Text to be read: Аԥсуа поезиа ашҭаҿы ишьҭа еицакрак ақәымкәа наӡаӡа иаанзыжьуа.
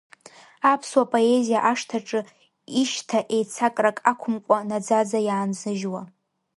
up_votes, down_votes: 0, 2